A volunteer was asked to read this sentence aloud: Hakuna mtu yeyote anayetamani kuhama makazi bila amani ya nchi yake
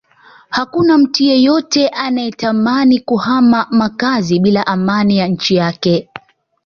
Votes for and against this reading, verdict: 2, 0, accepted